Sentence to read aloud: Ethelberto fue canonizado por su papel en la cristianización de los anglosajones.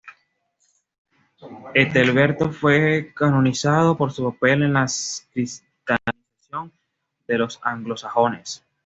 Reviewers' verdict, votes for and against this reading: rejected, 1, 2